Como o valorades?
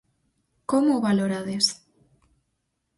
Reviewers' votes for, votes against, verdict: 4, 0, accepted